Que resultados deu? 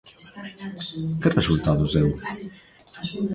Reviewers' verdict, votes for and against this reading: rejected, 0, 2